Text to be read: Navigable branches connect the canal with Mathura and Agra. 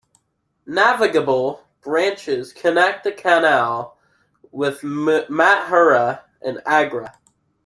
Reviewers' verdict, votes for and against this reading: rejected, 0, 2